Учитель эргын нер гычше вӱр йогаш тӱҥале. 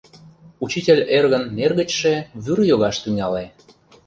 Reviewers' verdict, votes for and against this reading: rejected, 1, 2